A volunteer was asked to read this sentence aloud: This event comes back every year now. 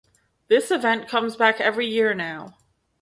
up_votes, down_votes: 2, 0